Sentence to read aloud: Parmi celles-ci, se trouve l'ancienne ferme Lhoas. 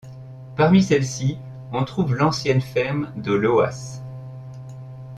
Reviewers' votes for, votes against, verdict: 1, 2, rejected